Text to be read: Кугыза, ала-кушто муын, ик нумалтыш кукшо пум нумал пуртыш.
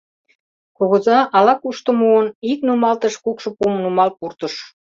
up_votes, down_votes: 2, 0